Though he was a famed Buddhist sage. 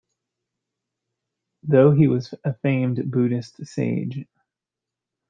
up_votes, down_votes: 2, 1